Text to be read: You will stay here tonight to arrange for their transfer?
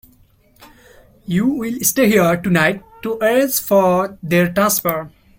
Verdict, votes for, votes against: accepted, 2, 1